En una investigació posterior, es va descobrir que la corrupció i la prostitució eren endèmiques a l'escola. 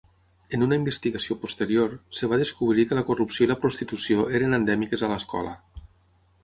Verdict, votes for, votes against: rejected, 3, 3